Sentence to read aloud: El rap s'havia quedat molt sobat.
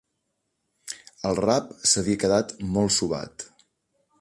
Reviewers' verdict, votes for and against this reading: accepted, 2, 0